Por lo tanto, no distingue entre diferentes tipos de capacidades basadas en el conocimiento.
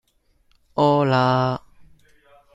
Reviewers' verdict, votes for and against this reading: rejected, 0, 2